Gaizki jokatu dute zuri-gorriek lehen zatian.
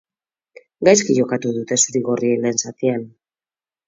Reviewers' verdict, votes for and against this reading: accepted, 4, 0